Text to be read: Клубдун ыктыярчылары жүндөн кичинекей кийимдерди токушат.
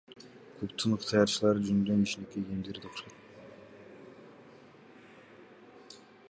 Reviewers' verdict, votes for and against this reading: rejected, 1, 2